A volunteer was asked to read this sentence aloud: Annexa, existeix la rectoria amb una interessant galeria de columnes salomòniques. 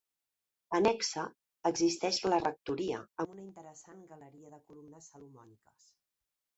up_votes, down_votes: 0, 2